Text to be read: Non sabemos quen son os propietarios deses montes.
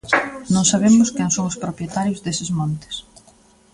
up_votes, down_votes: 2, 1